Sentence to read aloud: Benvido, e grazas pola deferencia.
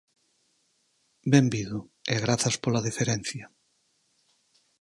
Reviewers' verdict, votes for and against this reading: accepted, 4, 0